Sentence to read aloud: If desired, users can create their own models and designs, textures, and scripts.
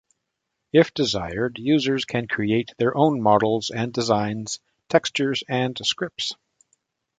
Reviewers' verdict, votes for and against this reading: accepted, 2, 0